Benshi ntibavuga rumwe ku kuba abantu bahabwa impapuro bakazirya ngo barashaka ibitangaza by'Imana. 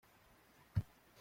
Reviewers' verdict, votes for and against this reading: rejected, 0, 2